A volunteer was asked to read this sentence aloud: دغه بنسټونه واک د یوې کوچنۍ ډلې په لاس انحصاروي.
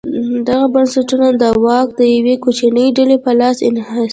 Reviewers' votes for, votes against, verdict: 1, 2, rejected